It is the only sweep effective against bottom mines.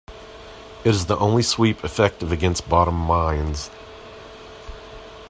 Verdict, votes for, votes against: rejected, 1, 2